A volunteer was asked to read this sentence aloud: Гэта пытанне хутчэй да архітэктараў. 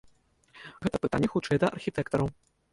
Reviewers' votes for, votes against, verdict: 2, 0, accepted